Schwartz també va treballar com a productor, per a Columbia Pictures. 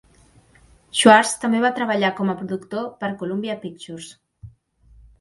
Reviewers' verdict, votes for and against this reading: rejected, 0, 2